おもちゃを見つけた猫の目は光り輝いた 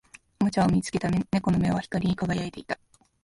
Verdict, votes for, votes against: rejected, 4, 6